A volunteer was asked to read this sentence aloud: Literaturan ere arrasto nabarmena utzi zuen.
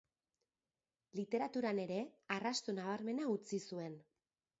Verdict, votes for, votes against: accepted, 3, 0